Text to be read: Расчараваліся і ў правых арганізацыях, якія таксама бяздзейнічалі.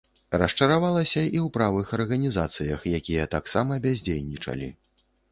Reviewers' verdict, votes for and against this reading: rejected, 1, 2